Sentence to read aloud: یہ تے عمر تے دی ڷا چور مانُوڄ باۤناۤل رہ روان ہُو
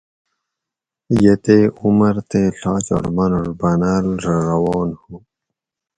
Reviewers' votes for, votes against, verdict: 2, 2, rejected